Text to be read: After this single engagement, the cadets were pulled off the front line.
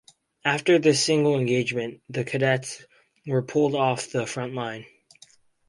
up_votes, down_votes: 4, 0